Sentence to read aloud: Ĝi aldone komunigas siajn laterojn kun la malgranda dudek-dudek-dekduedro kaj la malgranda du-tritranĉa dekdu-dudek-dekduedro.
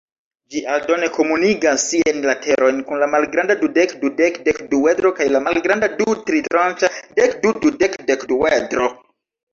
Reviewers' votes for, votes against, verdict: 1, 2, rejected